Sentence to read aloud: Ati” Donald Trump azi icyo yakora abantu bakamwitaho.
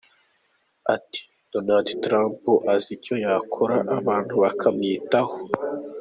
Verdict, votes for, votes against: accepted, 2, 0